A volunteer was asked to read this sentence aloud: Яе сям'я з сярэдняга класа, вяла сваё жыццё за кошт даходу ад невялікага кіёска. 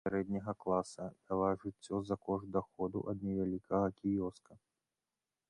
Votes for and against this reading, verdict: 1, 2, rejected